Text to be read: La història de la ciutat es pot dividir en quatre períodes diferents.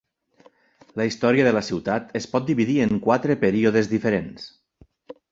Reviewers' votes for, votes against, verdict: 2, 0, accepted